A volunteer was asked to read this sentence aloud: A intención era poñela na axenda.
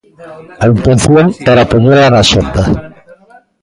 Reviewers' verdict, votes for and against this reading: rejected, 0, 2